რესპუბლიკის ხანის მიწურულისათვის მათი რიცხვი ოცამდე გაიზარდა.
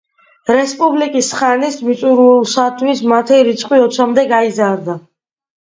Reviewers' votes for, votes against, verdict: 2, 1, accepted